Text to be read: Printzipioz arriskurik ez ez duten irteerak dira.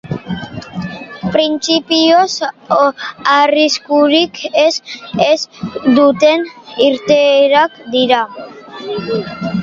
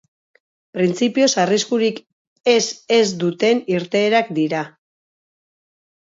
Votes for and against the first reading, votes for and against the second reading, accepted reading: 0, 2, 4, 0, second